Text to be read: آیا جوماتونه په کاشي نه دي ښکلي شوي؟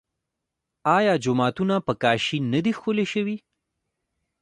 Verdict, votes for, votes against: accepted, 2, 1